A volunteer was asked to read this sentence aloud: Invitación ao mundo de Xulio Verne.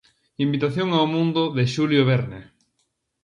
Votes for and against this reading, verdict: 2, 0, accepted